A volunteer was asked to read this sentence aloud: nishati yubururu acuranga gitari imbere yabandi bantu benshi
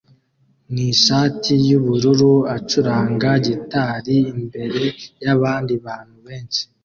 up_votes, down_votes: 2, 0